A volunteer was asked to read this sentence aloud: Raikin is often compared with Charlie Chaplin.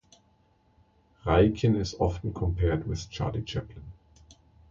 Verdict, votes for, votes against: accepted, 2, 0